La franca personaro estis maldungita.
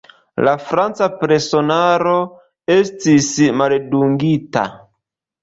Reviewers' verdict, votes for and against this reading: rejected, 1, 3